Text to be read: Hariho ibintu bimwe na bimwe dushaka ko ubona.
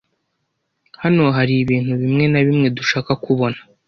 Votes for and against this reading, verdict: 1, 3, rejected